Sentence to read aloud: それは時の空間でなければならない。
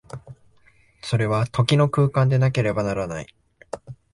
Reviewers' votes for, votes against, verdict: 2, 0, accepted